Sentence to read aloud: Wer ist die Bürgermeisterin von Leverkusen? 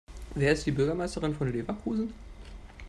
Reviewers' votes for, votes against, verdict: 2, 0, accepted